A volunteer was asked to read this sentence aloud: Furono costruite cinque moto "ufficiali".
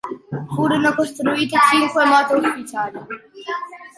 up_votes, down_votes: 2, 1